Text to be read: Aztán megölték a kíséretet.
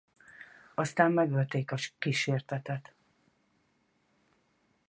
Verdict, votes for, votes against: rejected, 0, 4